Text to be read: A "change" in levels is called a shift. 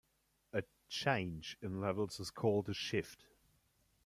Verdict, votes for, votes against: rejected, 1, 2